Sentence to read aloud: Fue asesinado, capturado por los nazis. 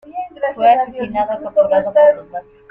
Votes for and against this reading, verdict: 1, 2, rejected